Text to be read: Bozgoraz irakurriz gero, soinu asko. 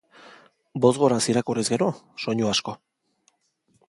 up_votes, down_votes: 3, 0